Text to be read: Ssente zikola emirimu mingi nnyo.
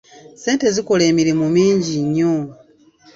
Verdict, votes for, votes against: accepted, 2, 0